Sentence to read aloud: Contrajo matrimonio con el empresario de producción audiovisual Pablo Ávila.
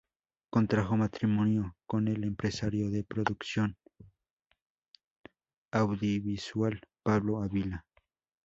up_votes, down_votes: 0, 2